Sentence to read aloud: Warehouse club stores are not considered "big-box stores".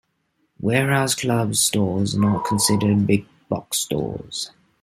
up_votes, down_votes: 2, 0